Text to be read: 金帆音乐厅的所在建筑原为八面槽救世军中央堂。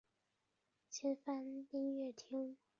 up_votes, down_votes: 2, 0